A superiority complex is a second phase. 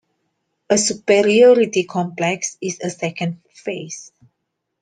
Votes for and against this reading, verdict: 2, 1, accepted